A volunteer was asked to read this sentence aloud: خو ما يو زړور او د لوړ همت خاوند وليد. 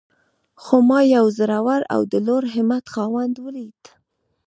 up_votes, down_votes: 2, 0